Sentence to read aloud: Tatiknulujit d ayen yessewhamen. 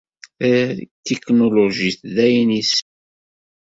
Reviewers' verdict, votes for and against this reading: rejected, 0, 2